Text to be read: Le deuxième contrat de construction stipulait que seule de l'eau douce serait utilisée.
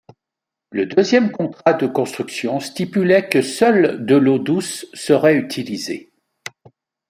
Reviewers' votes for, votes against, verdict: 2, 0, accepted